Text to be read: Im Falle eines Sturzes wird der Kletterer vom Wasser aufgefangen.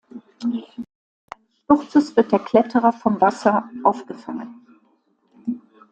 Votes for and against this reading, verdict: 0, 2, rejected